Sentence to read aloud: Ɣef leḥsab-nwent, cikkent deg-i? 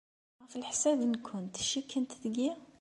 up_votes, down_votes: 2, 0